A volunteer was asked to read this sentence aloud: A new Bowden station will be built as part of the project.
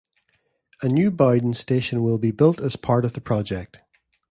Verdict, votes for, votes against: rejected, 1, 2